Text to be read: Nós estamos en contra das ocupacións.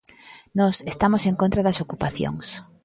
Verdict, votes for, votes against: rejected, 1, 2